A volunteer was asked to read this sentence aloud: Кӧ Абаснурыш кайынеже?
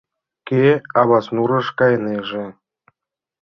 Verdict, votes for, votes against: accepted, 3, 0